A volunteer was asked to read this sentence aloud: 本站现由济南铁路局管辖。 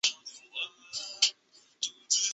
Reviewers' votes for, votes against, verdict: 1, 3, rejected